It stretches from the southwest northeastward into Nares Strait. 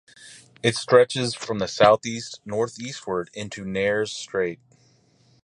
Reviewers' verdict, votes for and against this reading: accepted, 4, 0